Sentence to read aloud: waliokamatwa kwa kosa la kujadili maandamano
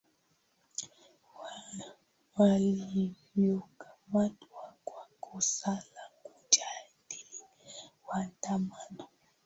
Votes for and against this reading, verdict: 1, 2, rejected